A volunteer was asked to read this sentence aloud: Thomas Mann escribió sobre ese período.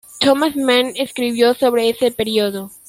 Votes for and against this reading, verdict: 2, 1, accepted